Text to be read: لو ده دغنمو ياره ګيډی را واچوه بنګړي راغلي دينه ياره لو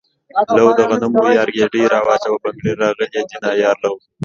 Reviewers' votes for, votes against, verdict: 2, 0, accepted